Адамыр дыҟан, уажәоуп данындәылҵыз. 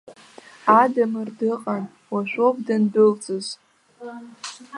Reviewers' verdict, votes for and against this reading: accepted, 2, 1